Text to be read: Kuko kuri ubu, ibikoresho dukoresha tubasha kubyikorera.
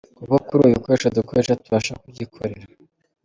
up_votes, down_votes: 0, 2